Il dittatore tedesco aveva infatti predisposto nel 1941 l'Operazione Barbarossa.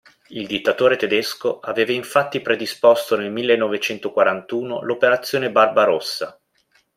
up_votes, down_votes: 0, 2